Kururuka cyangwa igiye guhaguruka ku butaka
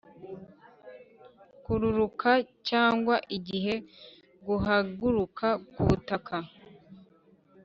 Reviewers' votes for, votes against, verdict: 1, 2, rejected